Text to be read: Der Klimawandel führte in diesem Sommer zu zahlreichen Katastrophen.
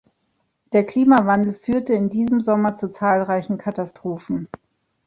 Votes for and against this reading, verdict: 2, 0, accepted